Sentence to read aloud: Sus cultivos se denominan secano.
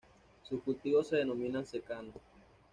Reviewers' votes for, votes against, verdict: 2, 1, accepted